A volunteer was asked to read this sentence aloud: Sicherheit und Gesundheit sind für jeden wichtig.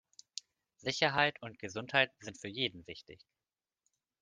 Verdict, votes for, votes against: accepted, 2, 0